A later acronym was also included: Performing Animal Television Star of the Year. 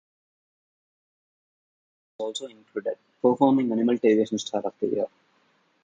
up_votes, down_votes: 2, 0